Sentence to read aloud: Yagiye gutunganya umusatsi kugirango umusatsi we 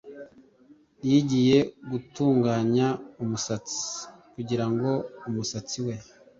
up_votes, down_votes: 1, 2